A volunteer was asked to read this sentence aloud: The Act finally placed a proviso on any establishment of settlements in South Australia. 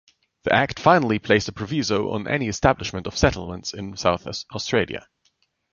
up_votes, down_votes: 0, 2